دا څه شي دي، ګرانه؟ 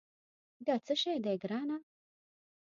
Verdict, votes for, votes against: rejected, 1, 2